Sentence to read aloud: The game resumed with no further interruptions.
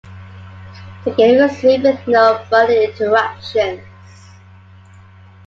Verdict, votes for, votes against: accepted, 2, 0